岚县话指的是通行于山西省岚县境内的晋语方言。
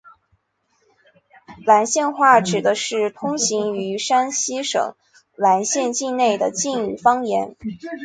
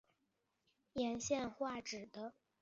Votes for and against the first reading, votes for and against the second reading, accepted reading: 2, 0, 0, 2, first